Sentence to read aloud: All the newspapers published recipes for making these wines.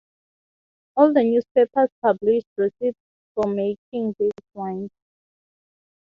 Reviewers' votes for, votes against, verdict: 3, 6, rejected